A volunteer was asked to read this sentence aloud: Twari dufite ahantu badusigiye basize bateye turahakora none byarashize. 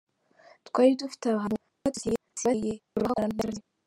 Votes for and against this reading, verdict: 0, 2, rejected